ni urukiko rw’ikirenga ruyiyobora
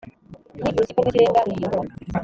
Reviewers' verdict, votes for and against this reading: rejected, 1, 2